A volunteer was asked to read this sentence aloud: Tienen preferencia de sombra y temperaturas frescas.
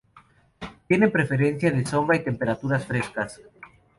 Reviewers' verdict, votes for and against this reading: rejected, 0, 4